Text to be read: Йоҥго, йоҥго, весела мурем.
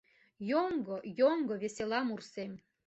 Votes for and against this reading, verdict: 1, 2, rejected